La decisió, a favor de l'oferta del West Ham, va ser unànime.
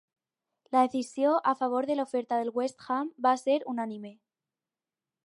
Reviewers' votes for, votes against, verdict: 2, 2, rejected